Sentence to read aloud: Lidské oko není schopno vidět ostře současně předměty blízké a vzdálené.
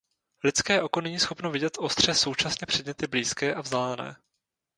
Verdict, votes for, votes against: rejected, 0, 2